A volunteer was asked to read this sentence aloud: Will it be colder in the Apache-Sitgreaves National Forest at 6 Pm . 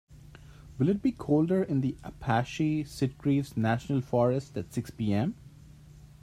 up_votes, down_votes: 0, 2